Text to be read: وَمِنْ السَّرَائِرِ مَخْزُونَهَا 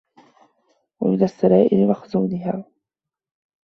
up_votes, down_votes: 2, 0